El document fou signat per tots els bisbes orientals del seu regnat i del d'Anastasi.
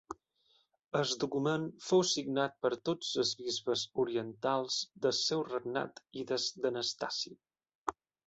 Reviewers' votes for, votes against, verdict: 0, 2, rejected